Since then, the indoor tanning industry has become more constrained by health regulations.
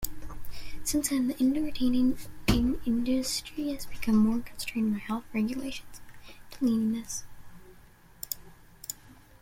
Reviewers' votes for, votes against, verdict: 0, 2, rejected